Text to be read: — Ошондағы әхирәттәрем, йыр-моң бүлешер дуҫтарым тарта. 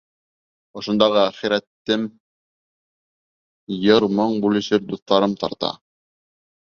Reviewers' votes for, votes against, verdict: 0, 2, rejected